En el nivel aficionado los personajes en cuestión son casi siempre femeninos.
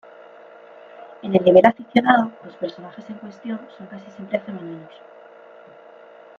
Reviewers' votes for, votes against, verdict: 0, 2, rejected